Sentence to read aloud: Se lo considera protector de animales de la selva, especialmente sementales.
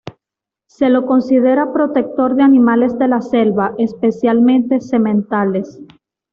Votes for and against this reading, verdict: 2, 0, accepted